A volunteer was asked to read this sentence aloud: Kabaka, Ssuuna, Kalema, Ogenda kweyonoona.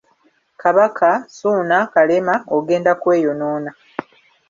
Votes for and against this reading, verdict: 0, 2, rejected